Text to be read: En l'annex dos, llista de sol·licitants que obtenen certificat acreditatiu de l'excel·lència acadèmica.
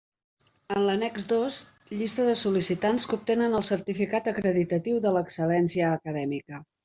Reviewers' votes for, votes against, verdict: 2, 1, accepted